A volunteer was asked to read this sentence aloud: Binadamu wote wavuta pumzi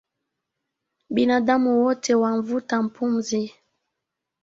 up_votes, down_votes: 2, 1